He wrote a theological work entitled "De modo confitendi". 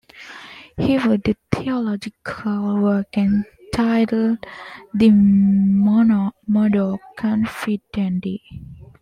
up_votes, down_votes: 0, 2